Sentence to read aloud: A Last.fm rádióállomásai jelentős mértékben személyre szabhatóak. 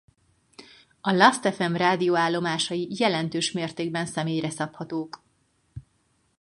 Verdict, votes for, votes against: rejected, 0, 4